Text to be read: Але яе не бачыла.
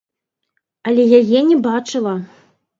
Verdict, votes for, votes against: rejected, 0, 2